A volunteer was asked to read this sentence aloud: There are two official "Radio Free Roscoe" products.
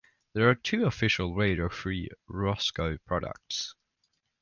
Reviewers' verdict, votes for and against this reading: accepted, 2, 0